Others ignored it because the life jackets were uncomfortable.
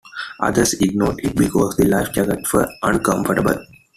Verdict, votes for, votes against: rejected, 1, 2